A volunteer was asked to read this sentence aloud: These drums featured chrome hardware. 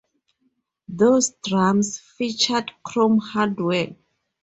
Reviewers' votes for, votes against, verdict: 0, 2, rejected